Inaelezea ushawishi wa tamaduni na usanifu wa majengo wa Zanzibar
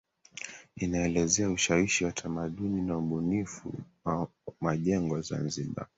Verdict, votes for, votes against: rejected, 0, 2